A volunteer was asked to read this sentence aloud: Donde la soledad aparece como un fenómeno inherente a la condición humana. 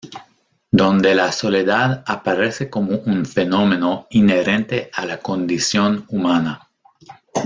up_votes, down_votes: 0, 2